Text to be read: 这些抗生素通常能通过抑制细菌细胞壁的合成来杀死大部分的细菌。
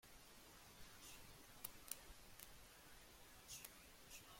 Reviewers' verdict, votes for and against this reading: rejected, 0, 2